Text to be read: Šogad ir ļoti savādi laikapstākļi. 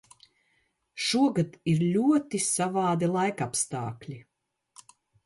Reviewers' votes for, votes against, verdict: 2, 0, accepted